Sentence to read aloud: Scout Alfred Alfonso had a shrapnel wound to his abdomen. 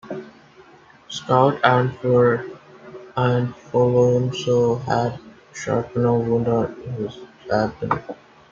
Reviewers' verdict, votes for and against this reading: rejected, 1, 2